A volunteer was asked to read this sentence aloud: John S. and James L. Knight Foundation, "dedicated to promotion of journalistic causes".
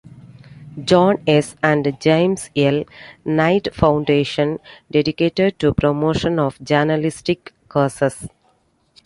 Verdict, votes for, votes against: accepted, 2, 1